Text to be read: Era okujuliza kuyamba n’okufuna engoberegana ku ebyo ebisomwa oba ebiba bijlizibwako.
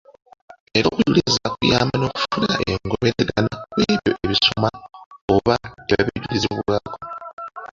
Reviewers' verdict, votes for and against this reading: rejected, 0, 2